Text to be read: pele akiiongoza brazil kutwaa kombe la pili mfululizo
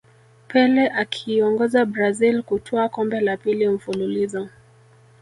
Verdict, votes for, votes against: accepted, 3, 1